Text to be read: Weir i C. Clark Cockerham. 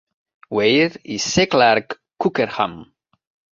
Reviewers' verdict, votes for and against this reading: accepted, 3, 0